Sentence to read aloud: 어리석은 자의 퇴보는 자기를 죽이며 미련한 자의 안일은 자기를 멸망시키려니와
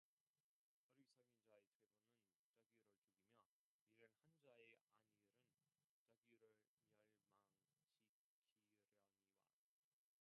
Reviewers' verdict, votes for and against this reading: rejected, 0, 2